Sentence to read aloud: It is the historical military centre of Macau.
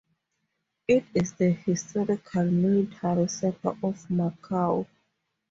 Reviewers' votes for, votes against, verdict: 2, 0, accepted